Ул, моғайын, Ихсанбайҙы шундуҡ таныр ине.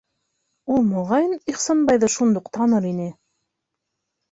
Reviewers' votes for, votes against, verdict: 3, 0, accepted